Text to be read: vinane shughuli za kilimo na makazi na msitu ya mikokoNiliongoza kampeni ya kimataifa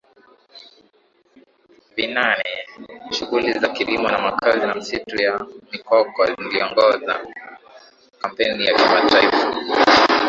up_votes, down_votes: 3, 2